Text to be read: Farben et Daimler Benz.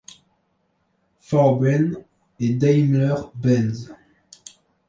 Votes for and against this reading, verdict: 1, 2, rejected